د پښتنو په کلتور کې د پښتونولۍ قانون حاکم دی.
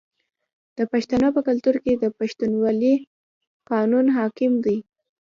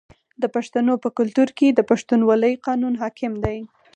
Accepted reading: second